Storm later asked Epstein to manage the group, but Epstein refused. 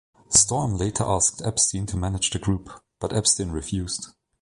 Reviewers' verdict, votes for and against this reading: accepted, 2, 0